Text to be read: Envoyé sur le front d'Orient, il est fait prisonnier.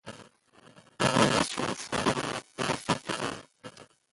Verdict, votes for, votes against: rejected, 0, 2